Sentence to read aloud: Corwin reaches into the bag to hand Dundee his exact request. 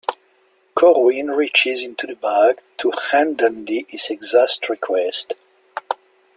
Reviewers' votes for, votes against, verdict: 0, 2, rejected